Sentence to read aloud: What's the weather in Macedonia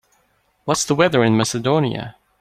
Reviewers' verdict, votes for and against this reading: accepted, 2, 0